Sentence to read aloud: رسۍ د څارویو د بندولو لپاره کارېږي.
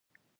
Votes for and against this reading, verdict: 0, 2, rejected